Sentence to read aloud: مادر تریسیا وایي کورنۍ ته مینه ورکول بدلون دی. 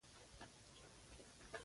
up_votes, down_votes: 1, 2